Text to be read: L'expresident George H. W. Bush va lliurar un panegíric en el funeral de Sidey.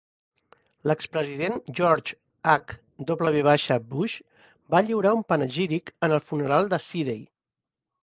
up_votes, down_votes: 3, 0